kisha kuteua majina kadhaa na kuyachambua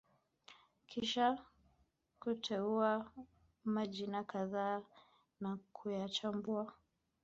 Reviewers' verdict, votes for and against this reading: accepted, 2, 0